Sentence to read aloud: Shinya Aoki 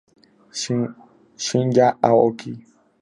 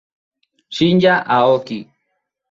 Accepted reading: second